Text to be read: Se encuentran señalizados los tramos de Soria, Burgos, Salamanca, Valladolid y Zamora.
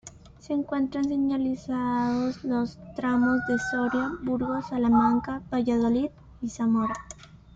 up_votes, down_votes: 1, 2